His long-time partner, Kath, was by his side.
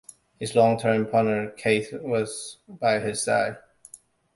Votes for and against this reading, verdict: 1, 2, rejected